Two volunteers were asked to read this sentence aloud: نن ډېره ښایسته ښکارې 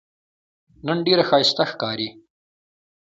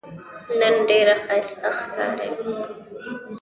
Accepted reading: first